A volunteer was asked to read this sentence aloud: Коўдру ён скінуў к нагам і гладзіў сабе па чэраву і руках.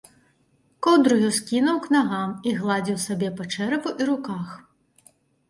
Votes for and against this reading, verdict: 2, 0, accepted